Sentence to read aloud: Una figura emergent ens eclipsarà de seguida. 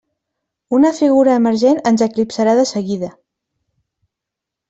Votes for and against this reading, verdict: 5, 0, accepted